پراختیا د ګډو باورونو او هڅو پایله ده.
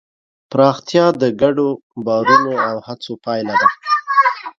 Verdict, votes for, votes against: accepted, 2, 1